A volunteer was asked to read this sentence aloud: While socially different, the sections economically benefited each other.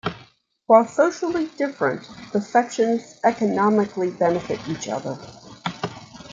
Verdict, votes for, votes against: rejected, 0, 2